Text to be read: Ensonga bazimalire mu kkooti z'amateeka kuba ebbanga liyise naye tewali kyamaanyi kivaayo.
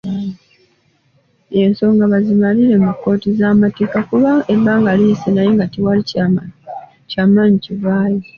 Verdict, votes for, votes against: accepted, 2, 1